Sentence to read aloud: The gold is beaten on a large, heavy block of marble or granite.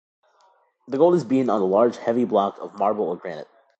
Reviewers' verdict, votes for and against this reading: rejected, 1, 2